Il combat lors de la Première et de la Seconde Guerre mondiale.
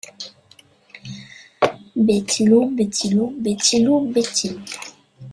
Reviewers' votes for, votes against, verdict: 0, 2, rejected